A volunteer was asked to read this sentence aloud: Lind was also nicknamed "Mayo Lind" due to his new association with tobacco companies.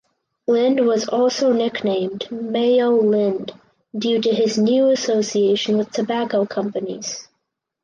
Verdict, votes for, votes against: accepted, 4, 0